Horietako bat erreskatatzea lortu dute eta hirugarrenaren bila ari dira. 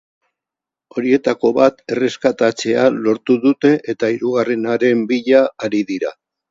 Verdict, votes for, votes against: accepted, 2, 0